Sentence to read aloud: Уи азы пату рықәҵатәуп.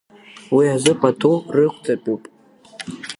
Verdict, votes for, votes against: accepted, 2, 1